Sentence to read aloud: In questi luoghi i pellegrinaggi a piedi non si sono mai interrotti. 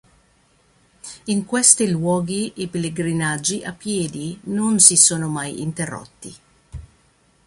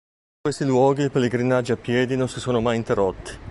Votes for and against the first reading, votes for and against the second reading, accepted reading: 2, 0, 0, 3, first